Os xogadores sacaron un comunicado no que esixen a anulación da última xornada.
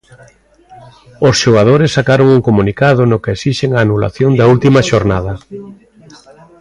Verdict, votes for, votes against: rejected, 0, 2